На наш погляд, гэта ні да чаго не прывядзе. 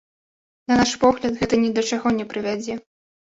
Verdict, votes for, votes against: accepted, 2, 0